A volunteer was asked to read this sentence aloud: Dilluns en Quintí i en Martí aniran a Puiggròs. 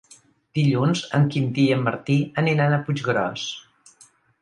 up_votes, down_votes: 4, 0